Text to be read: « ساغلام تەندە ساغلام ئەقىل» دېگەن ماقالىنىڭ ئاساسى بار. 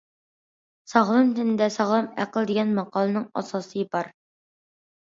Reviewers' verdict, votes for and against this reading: accepted, 2, 0